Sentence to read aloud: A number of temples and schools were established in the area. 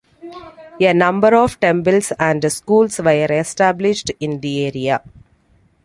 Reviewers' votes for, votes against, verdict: 2, 0, accepted